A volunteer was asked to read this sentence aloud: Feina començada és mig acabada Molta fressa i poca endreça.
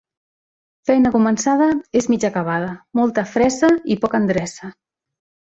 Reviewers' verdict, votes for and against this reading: accepted, 2, 1